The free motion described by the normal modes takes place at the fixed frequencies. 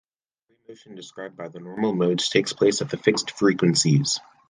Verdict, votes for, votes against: accepted, 3, 1